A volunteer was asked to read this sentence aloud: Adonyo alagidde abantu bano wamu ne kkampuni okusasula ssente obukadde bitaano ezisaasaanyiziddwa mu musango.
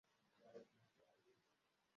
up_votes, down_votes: 0, 3